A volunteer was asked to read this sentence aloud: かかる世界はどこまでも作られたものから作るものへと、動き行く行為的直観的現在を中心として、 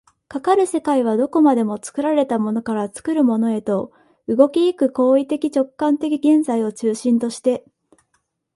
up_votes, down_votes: 2, 0